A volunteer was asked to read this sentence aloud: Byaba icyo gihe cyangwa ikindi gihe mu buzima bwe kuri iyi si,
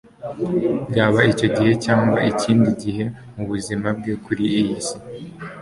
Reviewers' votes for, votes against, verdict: 2, 0, accepted